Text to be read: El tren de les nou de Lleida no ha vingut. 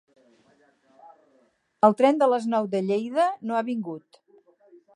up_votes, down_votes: 6, 0